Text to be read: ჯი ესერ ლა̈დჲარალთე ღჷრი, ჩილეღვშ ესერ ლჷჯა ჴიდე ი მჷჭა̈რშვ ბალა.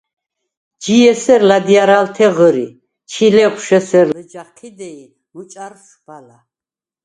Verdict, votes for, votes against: accepted, 4, 0